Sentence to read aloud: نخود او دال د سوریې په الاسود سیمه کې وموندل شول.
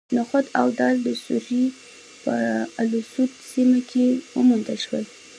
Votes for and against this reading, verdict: 2, 0, accepted